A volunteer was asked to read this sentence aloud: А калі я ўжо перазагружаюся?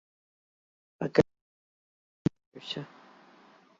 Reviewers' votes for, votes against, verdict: 0, 2, rejected